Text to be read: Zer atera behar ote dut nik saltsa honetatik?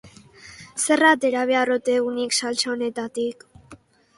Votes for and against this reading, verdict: 2, 0, accepted